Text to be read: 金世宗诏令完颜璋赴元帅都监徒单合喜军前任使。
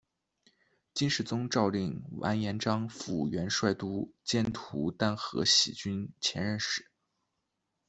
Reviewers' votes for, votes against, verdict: 0, 2, rejected